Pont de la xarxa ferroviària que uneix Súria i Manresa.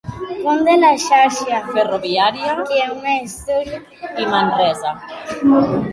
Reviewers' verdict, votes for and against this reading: rejected, 1, 2